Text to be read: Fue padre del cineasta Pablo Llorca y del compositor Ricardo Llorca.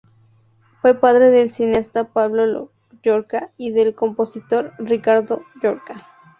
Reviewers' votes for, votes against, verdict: 2, 0, accepted